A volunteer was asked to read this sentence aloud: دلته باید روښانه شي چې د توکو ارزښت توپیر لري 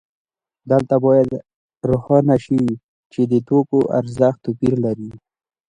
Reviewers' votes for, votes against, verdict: 0, 2, rejected